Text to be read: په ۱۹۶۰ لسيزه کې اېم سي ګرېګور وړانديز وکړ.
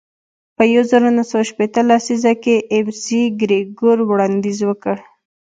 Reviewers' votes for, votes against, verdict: 0, 2, rejected